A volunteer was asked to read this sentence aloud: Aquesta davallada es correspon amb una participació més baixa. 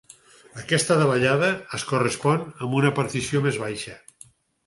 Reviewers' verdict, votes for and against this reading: rejected, 2, 4